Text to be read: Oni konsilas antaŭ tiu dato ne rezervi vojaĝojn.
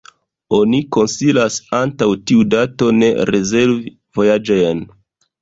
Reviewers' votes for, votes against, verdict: 2, 0, accepted